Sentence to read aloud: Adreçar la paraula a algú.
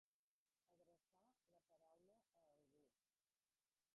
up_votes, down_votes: 0, 2